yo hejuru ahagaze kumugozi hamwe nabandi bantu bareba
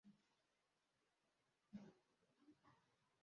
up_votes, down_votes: 0, 2